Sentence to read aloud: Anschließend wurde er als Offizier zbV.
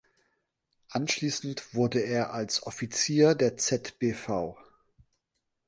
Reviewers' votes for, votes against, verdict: 1, 2, rejected